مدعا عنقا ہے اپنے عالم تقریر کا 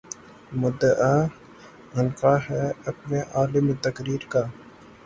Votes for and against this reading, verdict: 3, 0, accepted